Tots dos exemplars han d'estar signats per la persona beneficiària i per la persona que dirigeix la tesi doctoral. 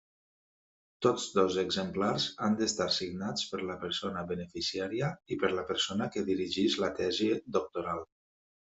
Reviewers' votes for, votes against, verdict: 2, 0, accepted